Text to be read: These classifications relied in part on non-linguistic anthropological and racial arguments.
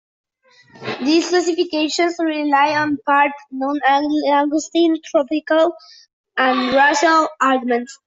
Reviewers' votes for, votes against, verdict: 0, 2, rejected